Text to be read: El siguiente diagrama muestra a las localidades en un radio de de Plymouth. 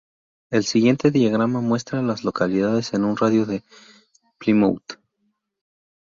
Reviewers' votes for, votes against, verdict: 0, 2, rejected